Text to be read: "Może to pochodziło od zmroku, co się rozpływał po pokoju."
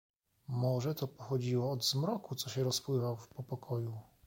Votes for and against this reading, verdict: 2, 0, accepted